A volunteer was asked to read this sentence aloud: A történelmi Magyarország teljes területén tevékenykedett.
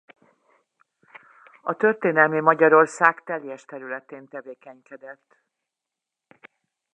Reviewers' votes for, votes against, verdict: 2, 0, accepted